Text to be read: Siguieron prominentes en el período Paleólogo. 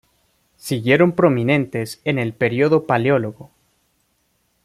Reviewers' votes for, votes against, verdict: 2, 0, accepted